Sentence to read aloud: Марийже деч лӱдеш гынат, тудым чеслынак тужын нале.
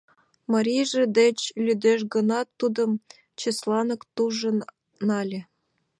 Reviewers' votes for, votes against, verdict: 0, 2, rejected